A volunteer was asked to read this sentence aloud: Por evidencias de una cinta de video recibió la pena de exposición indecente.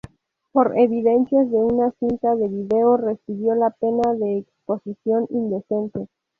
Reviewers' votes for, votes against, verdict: 0, 2, rejected